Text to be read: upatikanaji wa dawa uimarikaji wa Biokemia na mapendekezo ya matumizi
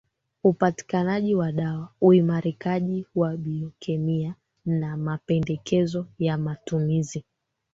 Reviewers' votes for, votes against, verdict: 0, 2, rejected